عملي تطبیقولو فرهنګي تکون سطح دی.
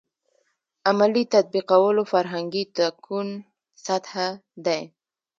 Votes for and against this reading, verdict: 1, 2, rejected